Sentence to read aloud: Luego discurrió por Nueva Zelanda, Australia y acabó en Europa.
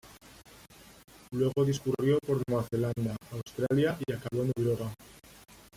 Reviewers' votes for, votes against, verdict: 2, 0, accepted